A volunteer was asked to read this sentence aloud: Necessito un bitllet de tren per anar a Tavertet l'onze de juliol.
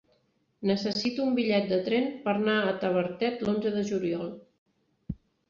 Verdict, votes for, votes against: accepted, 3, 0